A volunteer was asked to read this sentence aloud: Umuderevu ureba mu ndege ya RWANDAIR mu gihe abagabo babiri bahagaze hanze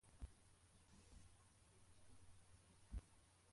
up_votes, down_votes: 0, 2